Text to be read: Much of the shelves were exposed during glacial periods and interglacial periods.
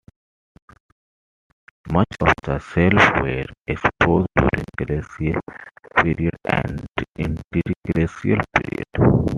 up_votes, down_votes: 2, 1